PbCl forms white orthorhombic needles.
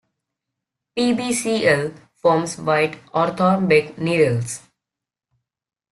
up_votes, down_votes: 2, 0